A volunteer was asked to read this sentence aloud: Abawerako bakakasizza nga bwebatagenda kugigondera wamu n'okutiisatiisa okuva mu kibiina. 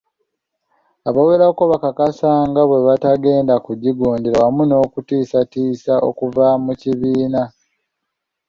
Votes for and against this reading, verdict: 0, 2, rejected